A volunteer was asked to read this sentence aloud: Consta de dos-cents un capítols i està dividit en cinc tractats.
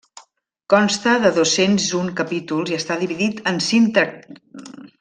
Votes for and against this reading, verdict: 0, 2, rejected